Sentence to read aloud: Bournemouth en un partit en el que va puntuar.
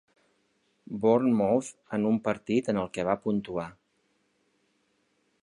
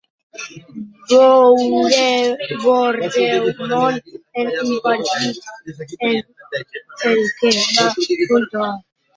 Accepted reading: first